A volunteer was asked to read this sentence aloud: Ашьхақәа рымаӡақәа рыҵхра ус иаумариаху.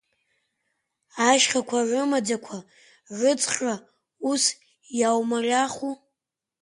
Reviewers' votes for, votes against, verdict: 2, 0, accepted